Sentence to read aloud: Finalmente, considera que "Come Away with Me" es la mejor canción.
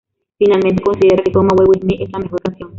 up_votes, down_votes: 0, 2